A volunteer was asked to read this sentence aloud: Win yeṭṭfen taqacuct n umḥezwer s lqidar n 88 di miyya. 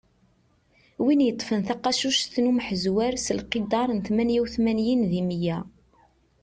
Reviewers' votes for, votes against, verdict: 0, 2, rejected